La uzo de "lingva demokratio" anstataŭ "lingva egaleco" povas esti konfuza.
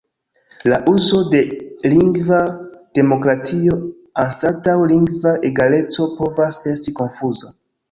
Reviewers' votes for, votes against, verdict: 3, 0, accepted